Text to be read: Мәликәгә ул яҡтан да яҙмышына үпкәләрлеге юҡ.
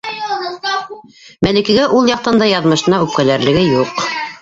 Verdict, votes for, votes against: rejected, 2, 3